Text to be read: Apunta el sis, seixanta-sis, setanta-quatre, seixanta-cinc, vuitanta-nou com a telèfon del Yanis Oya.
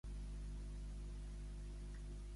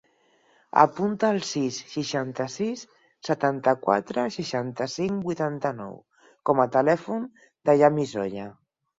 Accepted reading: second